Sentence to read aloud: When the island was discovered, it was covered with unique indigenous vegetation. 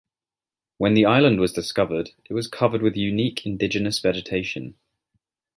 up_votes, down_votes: 2, 0